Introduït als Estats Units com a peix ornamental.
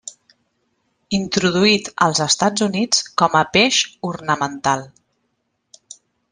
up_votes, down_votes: 3, 0